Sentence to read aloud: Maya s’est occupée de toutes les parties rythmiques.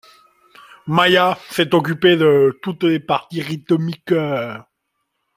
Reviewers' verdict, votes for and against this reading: accepted, 2, 0